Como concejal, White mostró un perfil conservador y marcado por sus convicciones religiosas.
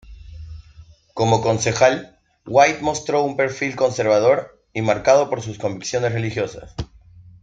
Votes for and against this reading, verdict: 2, 0, accepted